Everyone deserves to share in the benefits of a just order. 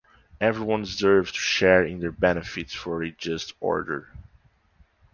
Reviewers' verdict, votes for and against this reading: rejected, 0, 2